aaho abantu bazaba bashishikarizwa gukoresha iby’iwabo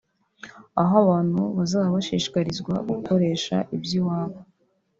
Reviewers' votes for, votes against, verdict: 0, 2, rejected